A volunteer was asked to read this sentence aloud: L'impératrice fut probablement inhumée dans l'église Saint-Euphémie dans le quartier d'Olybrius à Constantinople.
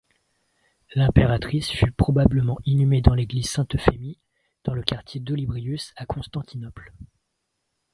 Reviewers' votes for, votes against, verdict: 2, 0, accepted